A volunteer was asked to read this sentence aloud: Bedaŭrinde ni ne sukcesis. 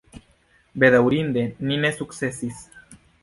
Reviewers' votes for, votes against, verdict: 1, 2, rejected